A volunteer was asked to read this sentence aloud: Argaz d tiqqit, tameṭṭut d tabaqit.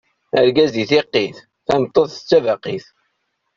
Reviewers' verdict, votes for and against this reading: rejected, 0, 2